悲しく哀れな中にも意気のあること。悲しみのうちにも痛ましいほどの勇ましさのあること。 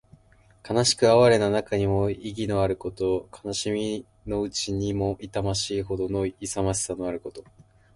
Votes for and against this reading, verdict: 2, 0, accepted